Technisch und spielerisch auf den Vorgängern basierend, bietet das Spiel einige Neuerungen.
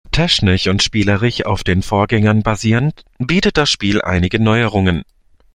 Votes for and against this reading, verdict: 0, 2, rejected